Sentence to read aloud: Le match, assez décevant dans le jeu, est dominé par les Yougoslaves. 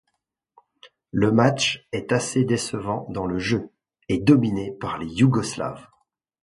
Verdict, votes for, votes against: rejected, 0, 2